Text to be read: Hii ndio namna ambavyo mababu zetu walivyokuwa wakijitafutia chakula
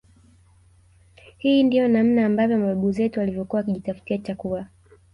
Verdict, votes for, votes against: accepted, 3, 1